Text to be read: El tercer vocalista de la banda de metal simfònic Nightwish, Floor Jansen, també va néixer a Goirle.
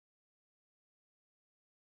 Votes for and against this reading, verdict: 0, 2, rejected